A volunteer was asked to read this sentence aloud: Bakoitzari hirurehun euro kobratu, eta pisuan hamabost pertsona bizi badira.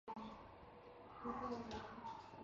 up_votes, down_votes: 0, 2